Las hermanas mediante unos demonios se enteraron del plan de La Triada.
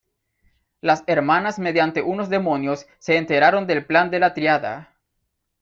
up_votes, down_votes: 1, 2